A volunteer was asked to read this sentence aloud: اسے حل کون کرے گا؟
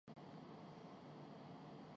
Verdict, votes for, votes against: rejected, 0, 2